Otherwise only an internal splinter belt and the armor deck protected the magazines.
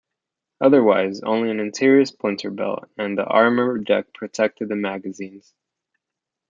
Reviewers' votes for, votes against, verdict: 1, 2, rejected